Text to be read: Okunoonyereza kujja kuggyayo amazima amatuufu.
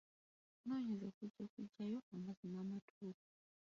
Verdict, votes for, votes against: rejected, 0, 2